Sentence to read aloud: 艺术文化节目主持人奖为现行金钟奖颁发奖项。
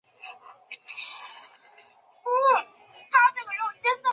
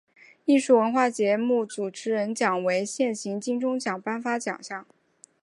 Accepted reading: second